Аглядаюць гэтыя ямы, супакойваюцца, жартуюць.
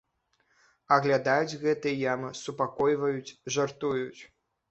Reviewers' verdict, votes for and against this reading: rejected, 1, 2